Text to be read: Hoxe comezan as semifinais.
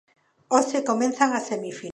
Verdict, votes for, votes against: rejected, 0, 2